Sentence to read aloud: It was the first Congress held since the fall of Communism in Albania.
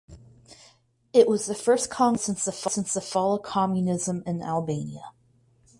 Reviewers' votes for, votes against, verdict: 0, 4, rejected